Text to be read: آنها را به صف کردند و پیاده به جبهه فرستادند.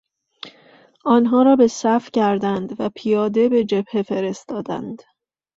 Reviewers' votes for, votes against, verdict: 2, 0, accepted